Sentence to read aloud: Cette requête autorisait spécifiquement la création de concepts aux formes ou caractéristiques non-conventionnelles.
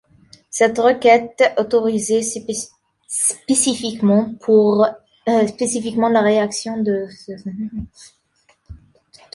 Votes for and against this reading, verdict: 0, 2, rejected